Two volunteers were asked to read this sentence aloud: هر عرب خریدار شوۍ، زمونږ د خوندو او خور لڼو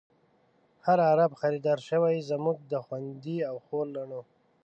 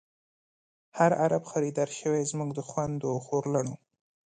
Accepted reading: second